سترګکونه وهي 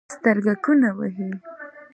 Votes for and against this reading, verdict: 2, 0, accepted